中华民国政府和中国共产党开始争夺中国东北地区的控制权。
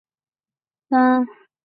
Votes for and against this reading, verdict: 0, 2, rejected